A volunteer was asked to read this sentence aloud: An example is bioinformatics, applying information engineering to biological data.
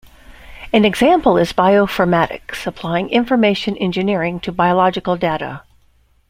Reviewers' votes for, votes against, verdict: 0, 2, rejected